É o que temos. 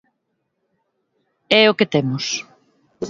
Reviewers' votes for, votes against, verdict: 2, 0, accepted